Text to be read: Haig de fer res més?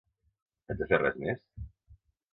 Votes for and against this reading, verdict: 1, 2, rejected